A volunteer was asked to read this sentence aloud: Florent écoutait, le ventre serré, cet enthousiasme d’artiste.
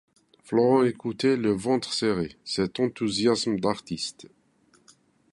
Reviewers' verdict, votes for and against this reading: accepted, 2, 0